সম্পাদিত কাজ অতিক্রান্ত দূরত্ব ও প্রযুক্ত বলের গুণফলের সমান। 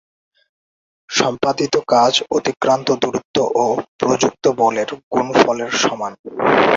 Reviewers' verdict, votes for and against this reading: accepted, 2, 0